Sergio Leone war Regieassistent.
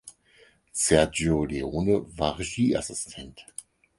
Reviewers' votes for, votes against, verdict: 6, 0, accepted